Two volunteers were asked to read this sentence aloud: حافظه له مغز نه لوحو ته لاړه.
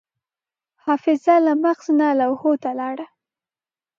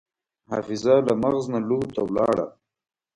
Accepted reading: first